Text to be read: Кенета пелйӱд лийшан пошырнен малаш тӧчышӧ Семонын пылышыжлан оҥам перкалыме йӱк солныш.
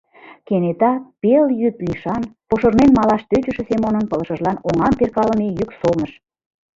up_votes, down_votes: 2, 0